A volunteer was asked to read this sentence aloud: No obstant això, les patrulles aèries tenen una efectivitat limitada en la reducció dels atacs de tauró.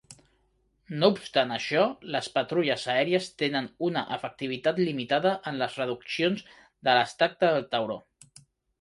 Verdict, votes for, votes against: rejected, 1, 2